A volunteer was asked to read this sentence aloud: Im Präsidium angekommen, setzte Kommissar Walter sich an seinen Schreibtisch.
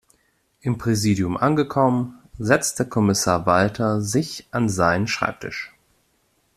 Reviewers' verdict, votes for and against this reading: accepted, 2, 0